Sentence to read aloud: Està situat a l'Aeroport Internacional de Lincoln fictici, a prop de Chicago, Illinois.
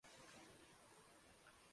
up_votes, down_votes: 0, 2